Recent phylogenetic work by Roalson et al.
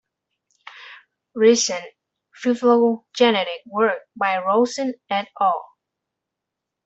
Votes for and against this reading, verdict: 0, 2, rejected